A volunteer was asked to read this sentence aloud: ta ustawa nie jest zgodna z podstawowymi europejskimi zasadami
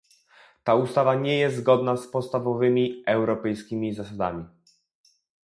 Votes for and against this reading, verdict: 0, 2, rejected